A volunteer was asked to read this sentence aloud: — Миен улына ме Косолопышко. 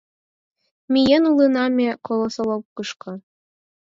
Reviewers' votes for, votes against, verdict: 0, 4, rejected